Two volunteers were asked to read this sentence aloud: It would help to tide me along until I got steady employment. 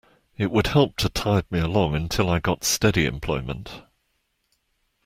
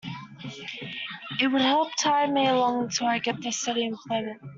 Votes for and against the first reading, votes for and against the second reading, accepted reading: 2, 1, 0, 2, first